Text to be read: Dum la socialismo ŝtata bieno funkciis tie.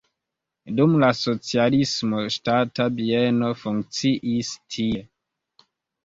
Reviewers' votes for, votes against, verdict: 2, 1, accepted